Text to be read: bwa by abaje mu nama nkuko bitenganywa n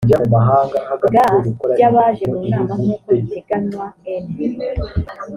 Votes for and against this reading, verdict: 0, 2, rejected